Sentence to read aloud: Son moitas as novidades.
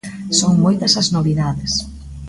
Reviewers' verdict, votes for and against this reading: accepted, 2, 0